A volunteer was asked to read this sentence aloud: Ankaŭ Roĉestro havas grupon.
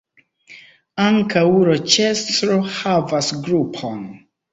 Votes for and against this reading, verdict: 3, 1, accepted